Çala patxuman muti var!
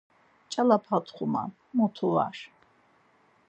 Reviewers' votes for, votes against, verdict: 2, 4, rejected